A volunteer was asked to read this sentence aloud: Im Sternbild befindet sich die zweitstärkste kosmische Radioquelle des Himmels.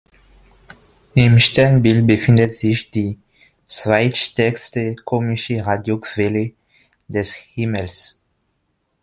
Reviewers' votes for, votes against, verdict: 0, 2, rejected